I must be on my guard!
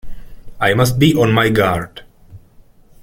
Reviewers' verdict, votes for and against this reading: accepted, 2, 0